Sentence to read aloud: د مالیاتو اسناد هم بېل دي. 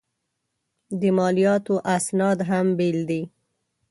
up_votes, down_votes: 2, 0